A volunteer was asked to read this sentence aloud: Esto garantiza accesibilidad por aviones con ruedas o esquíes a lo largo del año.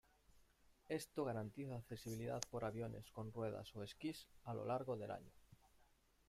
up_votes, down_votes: 1, 2